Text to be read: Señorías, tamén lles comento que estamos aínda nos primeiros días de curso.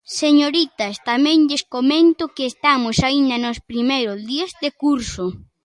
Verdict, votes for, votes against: rejected, 0, 2